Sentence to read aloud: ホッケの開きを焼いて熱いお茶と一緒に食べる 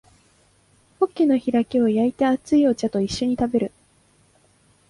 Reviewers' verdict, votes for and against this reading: rejected, 1, 2